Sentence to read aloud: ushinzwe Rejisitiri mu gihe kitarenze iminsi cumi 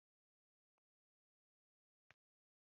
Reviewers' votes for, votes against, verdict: 0, 2, rejected